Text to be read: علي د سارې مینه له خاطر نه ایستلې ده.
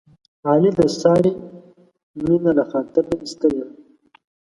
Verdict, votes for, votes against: rejected, 0, 2